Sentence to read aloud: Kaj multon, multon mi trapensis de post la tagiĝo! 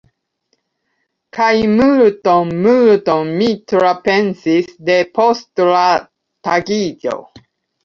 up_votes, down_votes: 0, 2